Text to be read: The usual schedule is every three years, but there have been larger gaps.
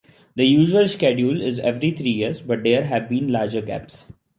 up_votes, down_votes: 2, 0